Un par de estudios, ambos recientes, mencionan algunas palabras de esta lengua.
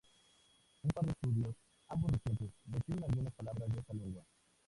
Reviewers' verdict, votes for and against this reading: rejected, 0, 2